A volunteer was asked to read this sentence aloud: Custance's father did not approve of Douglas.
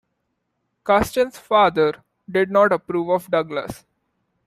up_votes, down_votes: 2, 0